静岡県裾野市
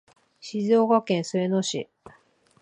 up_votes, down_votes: 3, 1